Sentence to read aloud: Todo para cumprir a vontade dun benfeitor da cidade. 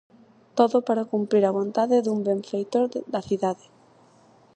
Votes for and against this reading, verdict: 2, 2, rejected